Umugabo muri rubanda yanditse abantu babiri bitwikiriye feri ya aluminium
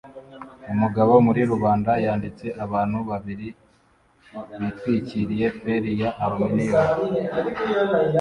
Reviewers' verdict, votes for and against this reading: rejected, 1, 2